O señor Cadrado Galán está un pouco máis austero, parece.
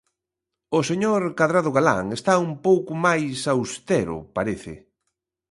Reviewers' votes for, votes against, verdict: 2, 0, accepted